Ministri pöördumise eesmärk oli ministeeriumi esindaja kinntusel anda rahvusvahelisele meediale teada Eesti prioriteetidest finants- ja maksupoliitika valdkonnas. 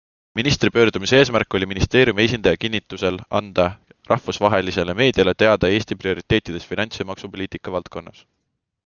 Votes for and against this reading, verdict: 2, 0, accepted